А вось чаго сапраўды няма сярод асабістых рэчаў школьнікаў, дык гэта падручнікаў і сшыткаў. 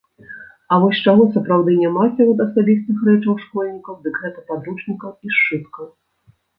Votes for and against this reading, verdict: 1, 2, rejected